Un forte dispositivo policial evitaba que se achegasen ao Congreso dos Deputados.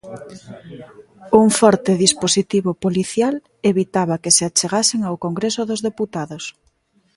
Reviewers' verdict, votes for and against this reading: accepted, 2, 0